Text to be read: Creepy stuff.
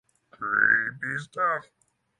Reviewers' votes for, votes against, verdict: 6, 0, accepted